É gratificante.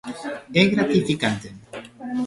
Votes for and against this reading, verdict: 2, 1, accepted